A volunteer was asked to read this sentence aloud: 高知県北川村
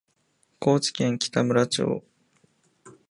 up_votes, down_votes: 0, 2